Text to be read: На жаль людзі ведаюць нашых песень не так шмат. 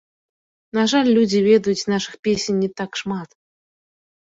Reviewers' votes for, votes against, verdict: 2, 0, accepted